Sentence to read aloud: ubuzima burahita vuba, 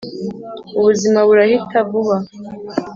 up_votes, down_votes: 3, 0